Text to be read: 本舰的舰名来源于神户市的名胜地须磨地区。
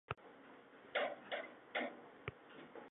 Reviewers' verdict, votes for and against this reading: rejected, 2, 3